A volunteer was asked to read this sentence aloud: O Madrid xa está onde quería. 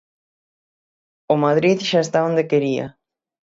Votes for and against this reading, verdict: 6, 0, accepted